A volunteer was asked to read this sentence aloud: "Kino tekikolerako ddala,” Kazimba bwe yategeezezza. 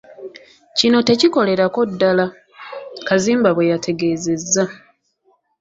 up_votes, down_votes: 2, 0